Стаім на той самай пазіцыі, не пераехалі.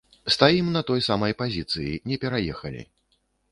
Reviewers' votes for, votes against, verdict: 2, 0, accepted